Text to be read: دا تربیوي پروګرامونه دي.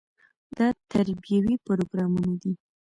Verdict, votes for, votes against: accepted, 2, 1